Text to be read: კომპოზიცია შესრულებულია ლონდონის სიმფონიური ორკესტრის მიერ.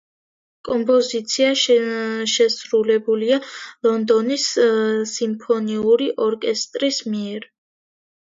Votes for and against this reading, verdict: 2, 0, accepted